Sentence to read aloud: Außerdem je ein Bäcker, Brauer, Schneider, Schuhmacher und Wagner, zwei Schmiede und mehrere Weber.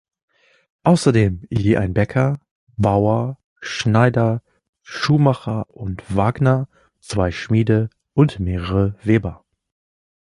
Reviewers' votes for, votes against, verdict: 1, 3, rejected